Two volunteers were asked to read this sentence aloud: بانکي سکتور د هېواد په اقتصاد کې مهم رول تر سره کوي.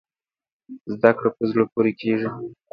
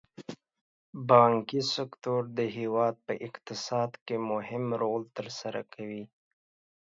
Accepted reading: second